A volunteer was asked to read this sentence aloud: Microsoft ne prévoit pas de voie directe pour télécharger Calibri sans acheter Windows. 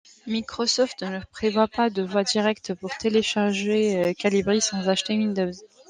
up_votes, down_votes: 2, 0